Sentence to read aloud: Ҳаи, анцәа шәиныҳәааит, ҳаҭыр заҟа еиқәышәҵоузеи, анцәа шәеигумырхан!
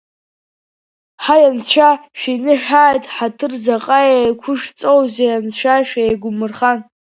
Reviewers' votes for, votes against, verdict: 2, 0, accepted